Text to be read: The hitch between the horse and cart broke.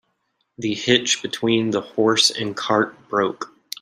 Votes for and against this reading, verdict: 2, 0, accepted